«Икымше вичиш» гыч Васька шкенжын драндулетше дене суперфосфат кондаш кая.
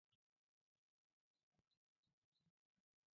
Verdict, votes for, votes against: rejected, 0, 2